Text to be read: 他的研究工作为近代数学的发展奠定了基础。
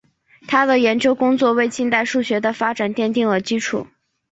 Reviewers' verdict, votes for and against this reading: rejected, 1, 2